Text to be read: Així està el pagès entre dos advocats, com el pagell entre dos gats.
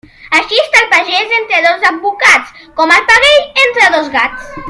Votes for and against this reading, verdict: 1, 2, rejected